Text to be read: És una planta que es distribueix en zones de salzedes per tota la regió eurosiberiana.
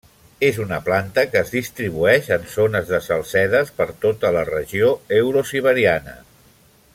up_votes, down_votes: 1, 2